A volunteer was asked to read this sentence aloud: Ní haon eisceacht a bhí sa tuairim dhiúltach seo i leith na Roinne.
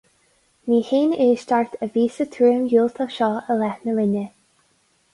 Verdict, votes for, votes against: rejected, 2, 2